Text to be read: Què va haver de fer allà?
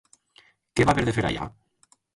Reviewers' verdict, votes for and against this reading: rejected, 0, 2